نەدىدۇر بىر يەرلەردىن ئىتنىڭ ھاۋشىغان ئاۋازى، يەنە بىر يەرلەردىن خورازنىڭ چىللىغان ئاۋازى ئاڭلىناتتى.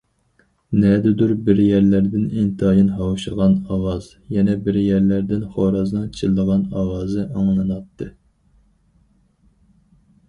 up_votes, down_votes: 0, 4